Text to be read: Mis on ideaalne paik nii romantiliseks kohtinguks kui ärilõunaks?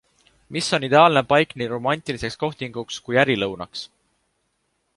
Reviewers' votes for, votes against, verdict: 2, 0, accepted